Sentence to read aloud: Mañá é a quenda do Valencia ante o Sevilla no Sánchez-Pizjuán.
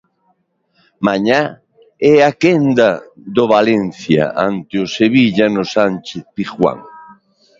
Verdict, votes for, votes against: accepted, 2, 0